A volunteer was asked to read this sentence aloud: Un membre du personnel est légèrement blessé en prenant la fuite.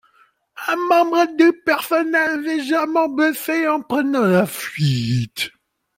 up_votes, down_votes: 0, 2